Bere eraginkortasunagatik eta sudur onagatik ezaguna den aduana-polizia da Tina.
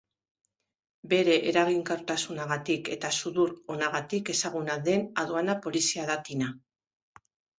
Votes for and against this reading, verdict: 2, 0, accepted